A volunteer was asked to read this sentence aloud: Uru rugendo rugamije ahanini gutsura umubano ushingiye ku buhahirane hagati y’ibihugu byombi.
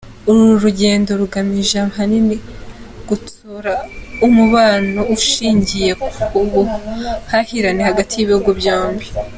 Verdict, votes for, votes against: accepted, 2, 0